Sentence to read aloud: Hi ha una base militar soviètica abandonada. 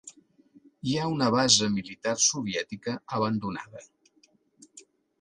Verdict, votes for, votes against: accepted, 2, 0